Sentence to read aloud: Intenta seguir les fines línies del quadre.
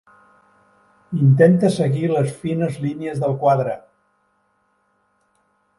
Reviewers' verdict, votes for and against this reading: accepted, 4, 0